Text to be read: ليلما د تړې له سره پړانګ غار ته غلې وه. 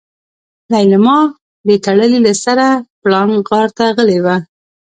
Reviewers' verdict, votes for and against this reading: rejected, 0, 2